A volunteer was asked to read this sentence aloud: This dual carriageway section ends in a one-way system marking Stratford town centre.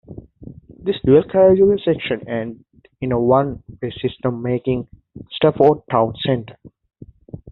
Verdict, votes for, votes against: rejected, 0, 2